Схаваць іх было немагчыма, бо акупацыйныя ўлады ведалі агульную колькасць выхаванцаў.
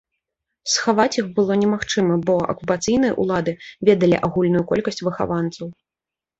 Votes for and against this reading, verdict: 2, 0, accepted